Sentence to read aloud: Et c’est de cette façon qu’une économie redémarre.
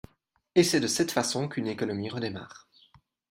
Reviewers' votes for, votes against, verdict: 2, 0, accepted